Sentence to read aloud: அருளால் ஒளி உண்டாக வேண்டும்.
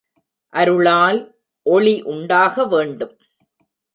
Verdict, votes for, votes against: accepted, 2, 0